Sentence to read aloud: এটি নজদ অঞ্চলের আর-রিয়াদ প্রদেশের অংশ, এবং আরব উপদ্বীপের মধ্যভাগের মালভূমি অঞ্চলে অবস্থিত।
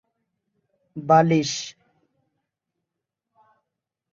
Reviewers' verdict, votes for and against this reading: rejected, 0, 2